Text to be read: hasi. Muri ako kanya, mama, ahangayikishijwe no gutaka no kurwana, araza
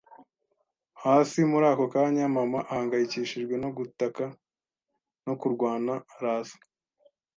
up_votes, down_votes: 2, 0